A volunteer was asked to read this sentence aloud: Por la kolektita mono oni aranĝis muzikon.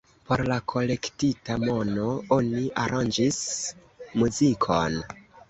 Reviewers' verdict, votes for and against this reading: rejected, 1, 2